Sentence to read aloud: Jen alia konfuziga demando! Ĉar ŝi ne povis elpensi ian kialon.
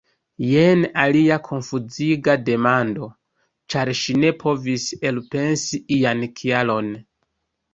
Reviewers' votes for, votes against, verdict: 1, 2, rejected